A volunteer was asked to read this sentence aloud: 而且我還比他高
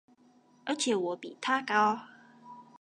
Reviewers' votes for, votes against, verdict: 1, 2, rejected